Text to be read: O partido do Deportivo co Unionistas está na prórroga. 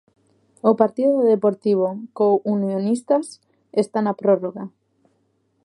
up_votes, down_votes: 2, 0